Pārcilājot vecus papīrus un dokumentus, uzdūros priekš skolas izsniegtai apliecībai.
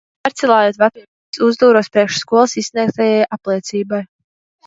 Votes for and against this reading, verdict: 0, 2, rejected